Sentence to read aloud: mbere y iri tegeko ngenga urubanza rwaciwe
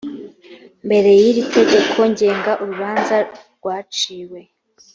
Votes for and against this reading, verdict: 3, 0, accepted